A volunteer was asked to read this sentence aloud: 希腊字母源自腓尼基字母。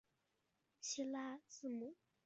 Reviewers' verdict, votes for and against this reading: rejected, 1, 2